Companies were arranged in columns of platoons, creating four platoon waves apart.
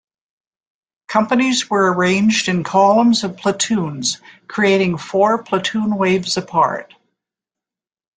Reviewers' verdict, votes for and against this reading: accepted, 2, 0